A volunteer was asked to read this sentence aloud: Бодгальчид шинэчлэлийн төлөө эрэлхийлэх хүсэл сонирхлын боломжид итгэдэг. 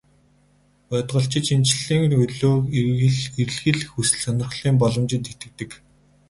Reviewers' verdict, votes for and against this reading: rejected, 4, 4